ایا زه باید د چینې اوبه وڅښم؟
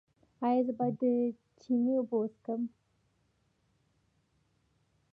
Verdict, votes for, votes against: accepted, 2, 0